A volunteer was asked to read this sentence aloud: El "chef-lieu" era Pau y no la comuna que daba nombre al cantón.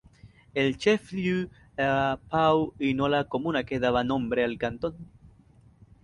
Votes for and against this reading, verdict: 2, 2, rejected